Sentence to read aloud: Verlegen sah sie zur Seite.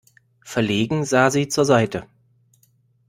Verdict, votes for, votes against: accepted, 2, 0